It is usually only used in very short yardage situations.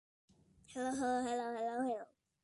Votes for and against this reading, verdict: 0, 2, rejected